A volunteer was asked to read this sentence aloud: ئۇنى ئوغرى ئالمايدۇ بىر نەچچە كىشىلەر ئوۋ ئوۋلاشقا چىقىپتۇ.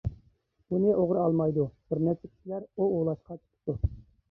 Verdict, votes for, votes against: rejected, 1, 2